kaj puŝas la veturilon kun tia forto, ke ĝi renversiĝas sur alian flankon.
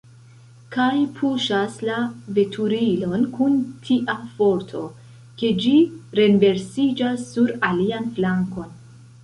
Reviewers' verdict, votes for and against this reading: accepted, 2, 0